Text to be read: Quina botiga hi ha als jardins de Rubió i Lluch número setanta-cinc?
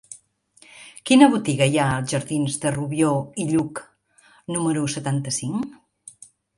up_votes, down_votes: 2, 0